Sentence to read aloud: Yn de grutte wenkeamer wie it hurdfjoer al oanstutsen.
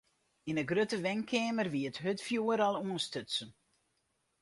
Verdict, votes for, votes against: accepted, 2, 0